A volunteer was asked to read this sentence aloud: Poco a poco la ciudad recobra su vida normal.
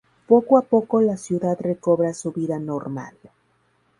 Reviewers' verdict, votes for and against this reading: rejected, 0, 2